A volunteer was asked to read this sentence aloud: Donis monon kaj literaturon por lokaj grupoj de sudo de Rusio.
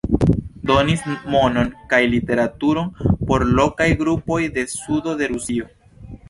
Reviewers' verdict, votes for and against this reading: accepted, 2, 0